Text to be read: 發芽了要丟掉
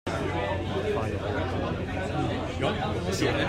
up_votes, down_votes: 0, 2